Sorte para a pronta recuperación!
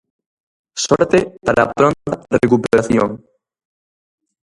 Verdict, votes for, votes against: rejected, 0, 2